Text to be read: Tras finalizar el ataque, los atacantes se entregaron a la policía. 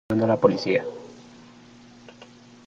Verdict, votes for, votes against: rejected, 0, 2